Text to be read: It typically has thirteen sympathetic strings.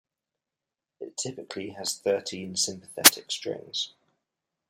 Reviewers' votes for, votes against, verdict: 2, 0, accepted